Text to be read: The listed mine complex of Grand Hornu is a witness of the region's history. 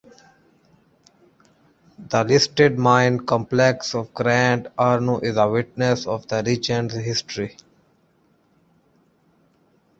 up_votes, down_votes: 3, 0